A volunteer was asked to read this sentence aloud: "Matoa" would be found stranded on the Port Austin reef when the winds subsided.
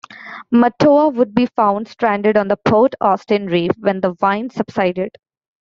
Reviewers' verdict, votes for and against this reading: rejected, 0, 2